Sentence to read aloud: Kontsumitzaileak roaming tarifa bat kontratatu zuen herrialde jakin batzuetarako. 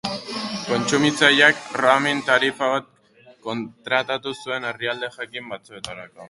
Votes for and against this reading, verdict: 2, 0, accepted